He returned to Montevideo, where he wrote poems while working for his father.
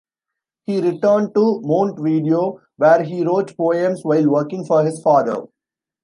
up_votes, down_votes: 0, 2